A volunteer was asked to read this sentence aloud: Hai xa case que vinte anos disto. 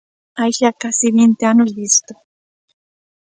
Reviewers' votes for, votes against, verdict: 1, 2, rejected